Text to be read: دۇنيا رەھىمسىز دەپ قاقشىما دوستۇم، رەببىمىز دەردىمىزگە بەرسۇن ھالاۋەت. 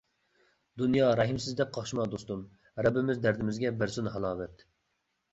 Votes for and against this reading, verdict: 2, 0, accepted